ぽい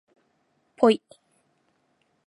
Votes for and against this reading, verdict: 2, 2, rejected